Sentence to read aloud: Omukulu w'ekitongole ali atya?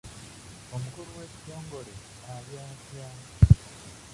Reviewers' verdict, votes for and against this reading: rejected, 0, 2